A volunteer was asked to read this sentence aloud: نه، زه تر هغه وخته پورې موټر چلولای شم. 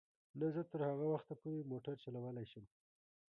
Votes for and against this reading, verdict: 2, 1, accepted